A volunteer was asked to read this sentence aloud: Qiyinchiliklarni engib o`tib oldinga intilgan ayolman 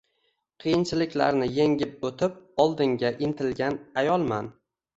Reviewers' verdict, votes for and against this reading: accepted, 2, 1